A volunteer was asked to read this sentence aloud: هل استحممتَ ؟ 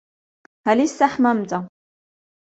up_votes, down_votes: 2, 1